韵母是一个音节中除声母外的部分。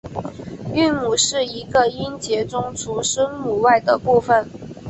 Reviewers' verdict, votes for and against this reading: accepted, 4, 0